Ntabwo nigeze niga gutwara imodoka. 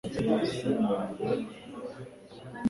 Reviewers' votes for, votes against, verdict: 1, 2, rejected